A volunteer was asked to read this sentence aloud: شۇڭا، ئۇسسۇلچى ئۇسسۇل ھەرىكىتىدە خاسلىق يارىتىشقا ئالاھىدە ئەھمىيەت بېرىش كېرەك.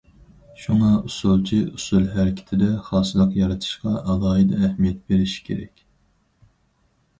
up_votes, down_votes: 4, 0